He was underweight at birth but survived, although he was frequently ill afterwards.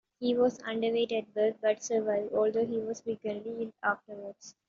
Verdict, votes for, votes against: accepted, 2, 1